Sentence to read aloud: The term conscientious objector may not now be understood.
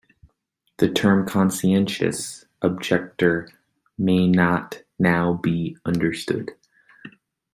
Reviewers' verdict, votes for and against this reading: accepted, 2, 0